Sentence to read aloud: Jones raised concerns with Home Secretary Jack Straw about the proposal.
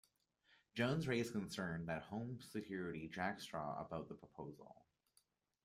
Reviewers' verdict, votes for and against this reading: rejected, 1, 2